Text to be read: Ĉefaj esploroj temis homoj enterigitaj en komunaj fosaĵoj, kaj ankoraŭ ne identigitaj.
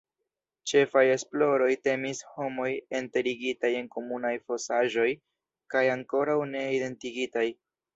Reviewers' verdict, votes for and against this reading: accepted, 2, 0